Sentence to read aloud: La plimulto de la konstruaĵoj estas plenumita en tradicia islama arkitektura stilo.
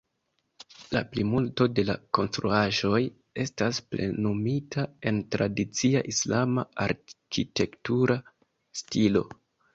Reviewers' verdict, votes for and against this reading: accepted, 2, 1